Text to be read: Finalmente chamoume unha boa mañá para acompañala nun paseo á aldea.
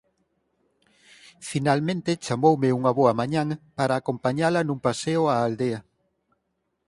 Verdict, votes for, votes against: accepted, 4, 0